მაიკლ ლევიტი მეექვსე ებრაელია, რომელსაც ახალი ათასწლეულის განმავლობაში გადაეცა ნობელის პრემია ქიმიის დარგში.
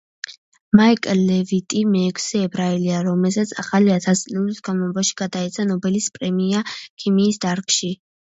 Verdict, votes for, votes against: rejected, 1, 2